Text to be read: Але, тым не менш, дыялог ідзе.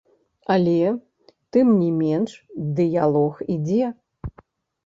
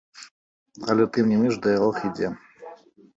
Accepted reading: second